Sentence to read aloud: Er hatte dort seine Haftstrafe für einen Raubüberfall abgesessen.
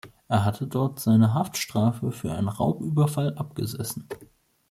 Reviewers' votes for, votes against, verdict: 3, 0, accepted